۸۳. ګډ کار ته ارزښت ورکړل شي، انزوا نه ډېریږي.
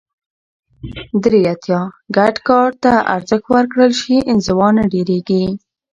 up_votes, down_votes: 0, 2